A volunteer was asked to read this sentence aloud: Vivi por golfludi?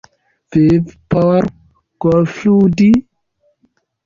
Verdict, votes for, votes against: rejected, 0, 2